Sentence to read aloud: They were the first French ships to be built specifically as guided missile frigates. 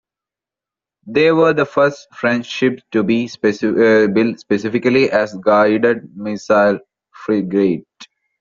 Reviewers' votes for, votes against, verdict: 1, 2, rejected